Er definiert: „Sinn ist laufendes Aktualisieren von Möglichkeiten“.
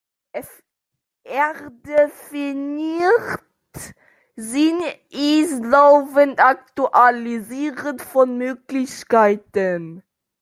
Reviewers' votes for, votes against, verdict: 0, 2, rejected